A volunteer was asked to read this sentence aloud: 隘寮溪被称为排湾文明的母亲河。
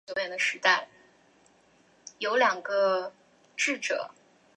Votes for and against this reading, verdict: 0, 4, rejected